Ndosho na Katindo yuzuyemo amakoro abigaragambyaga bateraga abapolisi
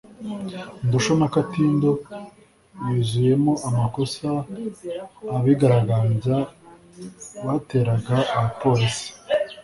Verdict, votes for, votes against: rejected, 1, 2